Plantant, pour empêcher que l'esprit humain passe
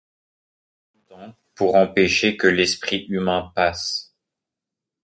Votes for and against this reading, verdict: 1, 2, rejected